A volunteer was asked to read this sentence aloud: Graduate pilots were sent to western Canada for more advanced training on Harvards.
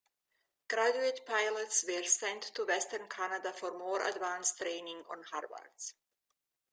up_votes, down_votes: 2, 0